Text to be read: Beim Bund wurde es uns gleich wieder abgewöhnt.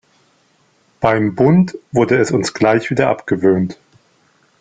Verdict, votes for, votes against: accepted, 2, 0